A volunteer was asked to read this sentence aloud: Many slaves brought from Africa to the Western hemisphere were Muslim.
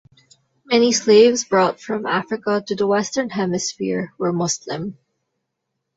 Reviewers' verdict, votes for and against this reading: accepted, 2, 0